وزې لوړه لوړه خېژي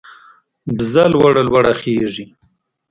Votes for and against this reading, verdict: 1, 2, rejected